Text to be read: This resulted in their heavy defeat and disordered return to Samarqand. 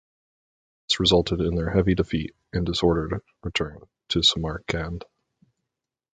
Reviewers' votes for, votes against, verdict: 0, 4, rejected